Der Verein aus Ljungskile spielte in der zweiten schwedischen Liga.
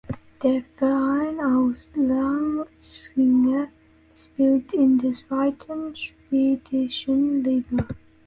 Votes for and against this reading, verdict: 0, 2, rejected